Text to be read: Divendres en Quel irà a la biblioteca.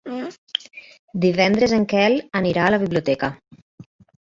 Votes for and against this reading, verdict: 1, 2, rejected